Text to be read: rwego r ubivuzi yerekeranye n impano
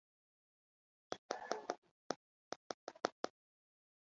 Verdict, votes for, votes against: rejected, 0, 2